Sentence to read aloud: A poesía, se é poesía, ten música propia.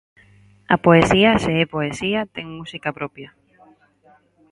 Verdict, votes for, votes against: accepted, 4, 0